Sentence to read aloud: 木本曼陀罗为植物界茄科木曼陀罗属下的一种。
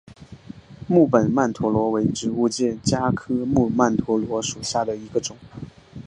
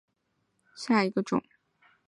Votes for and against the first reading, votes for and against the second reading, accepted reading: 2, 1, 1, 2, first